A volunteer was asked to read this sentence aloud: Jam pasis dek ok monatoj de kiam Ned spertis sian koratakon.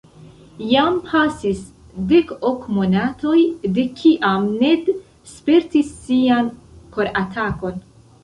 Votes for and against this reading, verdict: 1, 2, rejected